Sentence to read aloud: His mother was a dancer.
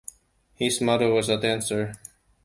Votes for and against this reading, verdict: 2, 0, accepted